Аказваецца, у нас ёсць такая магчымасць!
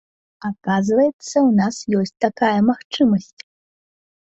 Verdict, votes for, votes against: accepted, 2, 1